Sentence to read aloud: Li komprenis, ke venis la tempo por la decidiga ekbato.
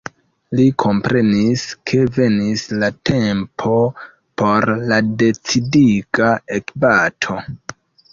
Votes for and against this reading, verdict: 2, 0, accepted